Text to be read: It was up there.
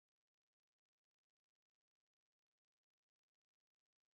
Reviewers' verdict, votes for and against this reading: rejected, 0, 2